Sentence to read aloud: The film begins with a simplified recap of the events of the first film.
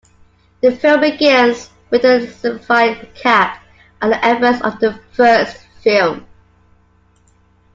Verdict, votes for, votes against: rejected, 0, 2